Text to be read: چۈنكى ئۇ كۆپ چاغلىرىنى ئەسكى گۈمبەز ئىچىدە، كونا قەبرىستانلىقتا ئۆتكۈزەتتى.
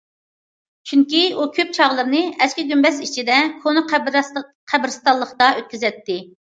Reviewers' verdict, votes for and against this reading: rejected, 1, 2